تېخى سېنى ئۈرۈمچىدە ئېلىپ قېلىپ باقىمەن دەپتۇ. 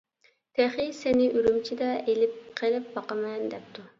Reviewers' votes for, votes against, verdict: 2, 0, accepted